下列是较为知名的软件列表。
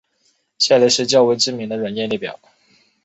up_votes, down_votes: 2, 0